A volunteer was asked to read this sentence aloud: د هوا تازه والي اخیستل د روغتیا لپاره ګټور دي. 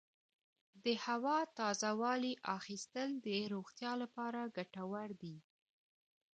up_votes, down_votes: 2, 0